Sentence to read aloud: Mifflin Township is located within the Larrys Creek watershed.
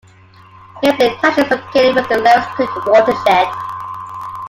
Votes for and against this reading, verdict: 0, 2, rejected